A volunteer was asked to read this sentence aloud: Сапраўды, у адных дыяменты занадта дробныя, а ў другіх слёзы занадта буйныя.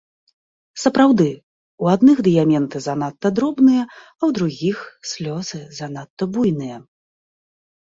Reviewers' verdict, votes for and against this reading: accepted, 2, 0